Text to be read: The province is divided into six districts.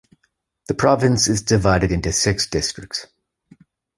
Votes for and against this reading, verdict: 2, 0, accepted